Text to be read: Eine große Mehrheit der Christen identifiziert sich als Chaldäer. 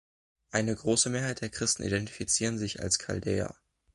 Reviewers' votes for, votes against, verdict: 1, 2, rejected